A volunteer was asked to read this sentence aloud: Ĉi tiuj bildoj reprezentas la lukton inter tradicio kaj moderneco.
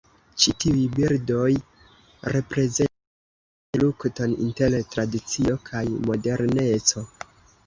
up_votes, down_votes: 1, 2